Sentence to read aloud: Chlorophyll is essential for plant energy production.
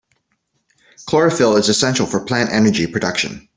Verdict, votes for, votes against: accepted, 2, 0